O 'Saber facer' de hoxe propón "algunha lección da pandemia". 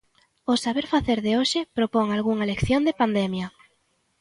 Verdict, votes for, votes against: accepted, 2, 1